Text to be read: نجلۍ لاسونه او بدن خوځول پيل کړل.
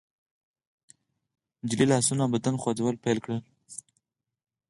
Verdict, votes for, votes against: accepted, 4, 0